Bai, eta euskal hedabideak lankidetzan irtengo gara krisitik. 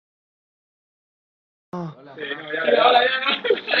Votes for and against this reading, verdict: 0, 3, rejected